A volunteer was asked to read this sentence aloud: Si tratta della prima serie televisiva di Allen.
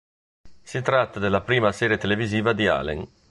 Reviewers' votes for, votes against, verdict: 2, 0, accepted